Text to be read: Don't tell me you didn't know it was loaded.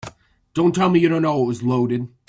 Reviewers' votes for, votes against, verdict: 0, 2, rejected